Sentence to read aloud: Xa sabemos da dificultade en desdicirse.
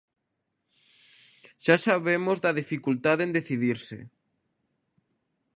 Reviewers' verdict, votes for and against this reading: rejected, 0, 2